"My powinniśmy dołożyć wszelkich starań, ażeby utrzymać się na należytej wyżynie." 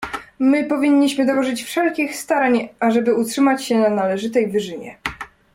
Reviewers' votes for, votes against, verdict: 2, 0, accepted